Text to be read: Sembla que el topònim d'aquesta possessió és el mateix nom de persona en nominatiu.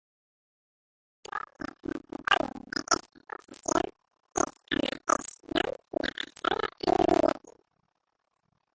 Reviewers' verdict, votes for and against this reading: rejected, 0, 2